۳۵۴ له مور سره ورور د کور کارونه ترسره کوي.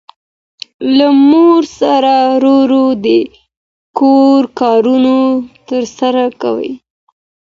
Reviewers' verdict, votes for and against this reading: rejected, 0, 2